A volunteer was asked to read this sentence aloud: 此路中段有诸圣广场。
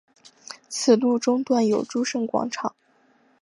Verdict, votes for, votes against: accepted, 5, 0